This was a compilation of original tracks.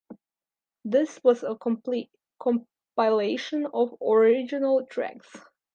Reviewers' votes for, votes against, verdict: 0, 2, rejected